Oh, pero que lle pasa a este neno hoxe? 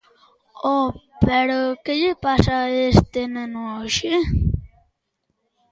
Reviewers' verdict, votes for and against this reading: accepted, 2, 0